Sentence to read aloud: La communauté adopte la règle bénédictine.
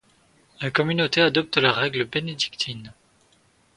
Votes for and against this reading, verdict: 2, 0, accepted